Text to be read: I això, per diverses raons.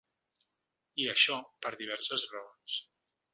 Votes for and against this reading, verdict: 4, 0, accepted